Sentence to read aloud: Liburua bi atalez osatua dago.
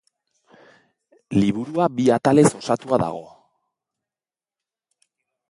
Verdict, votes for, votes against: accepted, 2, 0